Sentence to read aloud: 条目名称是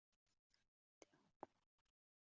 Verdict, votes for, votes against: rejected, 0, 2